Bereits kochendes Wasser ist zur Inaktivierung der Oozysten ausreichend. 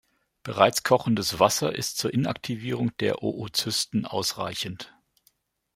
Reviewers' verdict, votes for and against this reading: accepted, 2, 0